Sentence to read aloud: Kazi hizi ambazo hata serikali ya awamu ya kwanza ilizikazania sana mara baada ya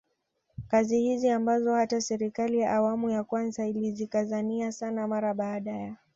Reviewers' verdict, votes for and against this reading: accepted, 2, 1